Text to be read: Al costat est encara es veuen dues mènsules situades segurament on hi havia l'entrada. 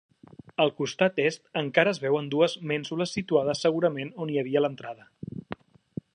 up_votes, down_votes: 2, 0